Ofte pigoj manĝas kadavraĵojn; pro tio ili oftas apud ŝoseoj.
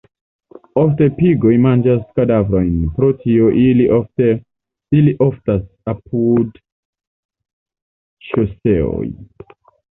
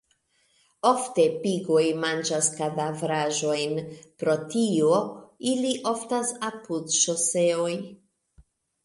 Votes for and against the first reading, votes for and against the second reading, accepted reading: 0, 2, 2, 0, second